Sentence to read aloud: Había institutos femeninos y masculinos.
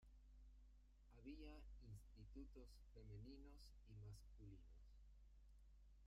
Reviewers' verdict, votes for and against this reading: rejected, 0, 3